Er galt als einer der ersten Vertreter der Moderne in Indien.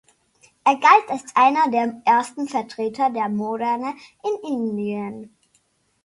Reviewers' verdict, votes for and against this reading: rejected, 0, 2